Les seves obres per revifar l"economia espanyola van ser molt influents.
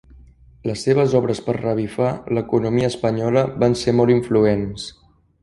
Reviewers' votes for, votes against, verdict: 0, 2, rejected